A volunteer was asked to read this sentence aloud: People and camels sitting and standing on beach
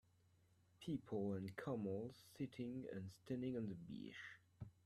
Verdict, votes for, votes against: rejected, 0, 2